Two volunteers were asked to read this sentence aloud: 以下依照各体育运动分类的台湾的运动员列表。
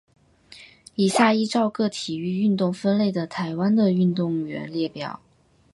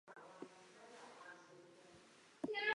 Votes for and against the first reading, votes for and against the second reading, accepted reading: 2, 0, 1, 4, first